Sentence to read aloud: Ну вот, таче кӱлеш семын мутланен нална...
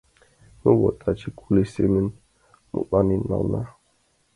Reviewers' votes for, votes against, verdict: 1, 2, rejected